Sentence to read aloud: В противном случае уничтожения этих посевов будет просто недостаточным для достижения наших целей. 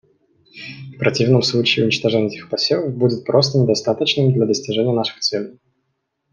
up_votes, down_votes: 2, 0